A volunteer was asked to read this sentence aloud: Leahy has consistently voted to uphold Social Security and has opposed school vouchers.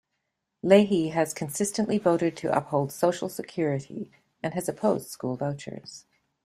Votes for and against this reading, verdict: 2, 0, accepted